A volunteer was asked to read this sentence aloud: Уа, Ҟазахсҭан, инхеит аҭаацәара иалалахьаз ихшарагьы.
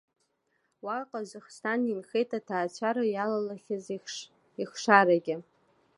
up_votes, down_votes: 0, 2